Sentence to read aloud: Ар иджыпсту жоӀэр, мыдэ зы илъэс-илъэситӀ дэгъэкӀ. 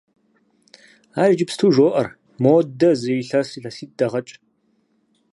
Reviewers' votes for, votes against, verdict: 2, 4, rejected